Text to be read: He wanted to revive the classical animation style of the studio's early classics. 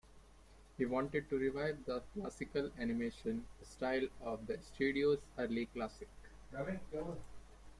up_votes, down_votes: 2, 1